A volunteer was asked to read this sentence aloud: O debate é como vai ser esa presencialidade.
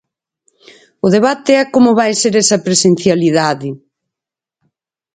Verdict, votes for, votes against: accepted, 4, 0